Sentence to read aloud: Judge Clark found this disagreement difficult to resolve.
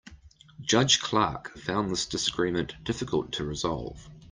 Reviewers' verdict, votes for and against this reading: accepted, 2, 0